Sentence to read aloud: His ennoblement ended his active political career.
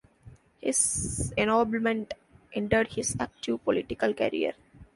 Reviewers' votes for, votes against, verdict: 2, 1, accepted